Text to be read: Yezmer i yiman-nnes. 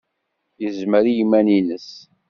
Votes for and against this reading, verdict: 2, 0, accepted